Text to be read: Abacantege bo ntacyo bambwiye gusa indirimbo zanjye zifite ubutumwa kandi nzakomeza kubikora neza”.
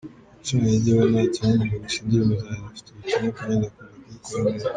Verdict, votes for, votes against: rejected, 0, 2